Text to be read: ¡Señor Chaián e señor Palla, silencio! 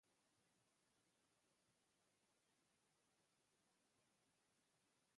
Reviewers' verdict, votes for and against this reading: rejected, 0, 2